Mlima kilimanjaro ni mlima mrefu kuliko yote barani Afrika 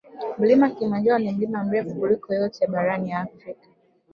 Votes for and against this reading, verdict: 1, 2, rejected